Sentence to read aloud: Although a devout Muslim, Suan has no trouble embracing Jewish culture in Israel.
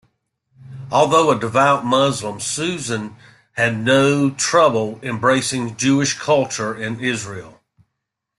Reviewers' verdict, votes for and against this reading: rejected, 1, 2